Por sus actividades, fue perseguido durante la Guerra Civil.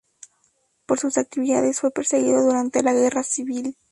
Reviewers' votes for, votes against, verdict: 2, 0, accepted